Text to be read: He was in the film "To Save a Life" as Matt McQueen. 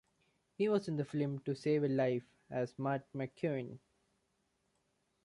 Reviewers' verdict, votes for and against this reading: rejected, 1, 2